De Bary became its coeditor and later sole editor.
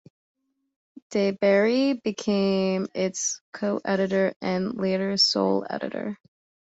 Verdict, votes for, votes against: accepted, 2, 0